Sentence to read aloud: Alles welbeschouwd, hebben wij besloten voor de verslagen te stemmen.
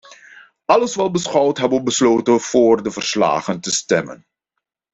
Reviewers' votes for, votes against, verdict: 1, 2, rejected